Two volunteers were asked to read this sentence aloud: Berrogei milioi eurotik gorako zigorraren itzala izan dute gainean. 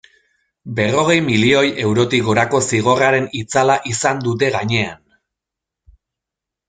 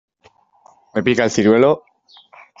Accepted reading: first